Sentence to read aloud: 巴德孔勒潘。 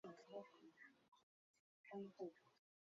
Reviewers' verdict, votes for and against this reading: rejected, 2, 3